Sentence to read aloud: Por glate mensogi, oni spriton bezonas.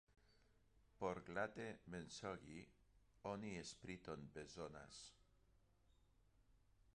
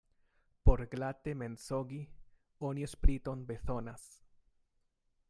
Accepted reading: second